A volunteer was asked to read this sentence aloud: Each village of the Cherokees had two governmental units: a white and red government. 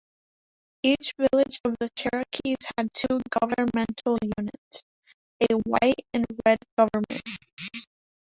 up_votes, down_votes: 0, 2